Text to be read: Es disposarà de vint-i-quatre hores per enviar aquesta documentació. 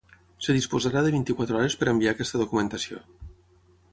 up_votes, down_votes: 3, 3